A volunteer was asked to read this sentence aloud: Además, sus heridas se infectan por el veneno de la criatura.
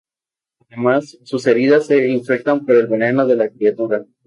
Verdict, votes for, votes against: accepted, 4, 0